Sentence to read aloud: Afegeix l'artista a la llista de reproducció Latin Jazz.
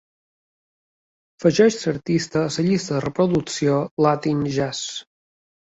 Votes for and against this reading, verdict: 1, 2, rejected